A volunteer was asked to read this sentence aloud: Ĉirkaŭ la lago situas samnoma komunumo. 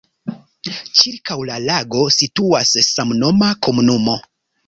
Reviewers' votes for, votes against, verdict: 2, 0, accepted